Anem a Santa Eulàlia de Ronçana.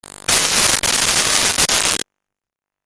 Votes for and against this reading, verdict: 0, 2, rejected